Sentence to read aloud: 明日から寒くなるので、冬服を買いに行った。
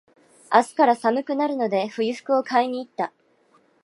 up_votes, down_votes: 2, 0